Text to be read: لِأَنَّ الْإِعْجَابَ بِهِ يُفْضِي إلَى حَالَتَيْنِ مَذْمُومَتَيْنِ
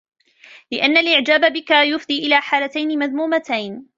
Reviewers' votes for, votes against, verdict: 2, 3, rejected